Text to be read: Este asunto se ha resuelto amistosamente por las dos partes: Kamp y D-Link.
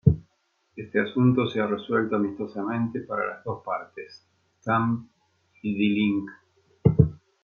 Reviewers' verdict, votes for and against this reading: rejected, 1, 2